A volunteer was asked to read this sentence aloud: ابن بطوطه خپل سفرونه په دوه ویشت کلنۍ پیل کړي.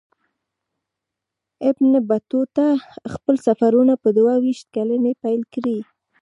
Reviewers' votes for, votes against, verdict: 1, 2, rejected